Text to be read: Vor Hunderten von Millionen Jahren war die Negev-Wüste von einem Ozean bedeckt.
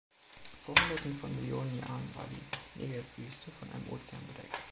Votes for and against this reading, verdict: 0, 2, rejected